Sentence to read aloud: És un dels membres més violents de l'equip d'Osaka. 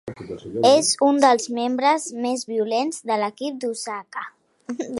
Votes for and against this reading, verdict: 2, 0, accepted